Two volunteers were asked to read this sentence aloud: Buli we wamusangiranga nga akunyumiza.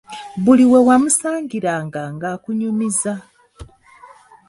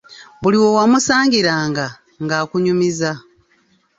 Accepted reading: first